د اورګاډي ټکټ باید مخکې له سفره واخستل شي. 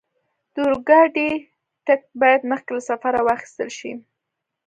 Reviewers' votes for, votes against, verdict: 2, 0, accepted